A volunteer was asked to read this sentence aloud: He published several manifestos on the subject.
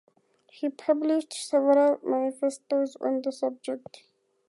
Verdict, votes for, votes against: accepted, 4, 0